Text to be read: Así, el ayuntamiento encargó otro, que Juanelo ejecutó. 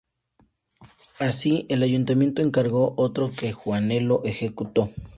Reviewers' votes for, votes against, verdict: 4, 0, accepted